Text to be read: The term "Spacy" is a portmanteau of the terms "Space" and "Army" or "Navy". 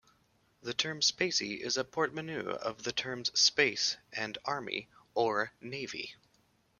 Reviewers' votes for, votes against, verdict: 0, 2, rejected